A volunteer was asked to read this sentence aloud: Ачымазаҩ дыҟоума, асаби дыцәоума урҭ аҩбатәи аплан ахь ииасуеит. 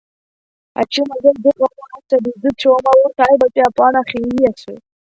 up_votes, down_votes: 0, 2